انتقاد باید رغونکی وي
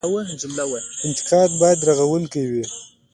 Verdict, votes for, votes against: accepted, 3, 2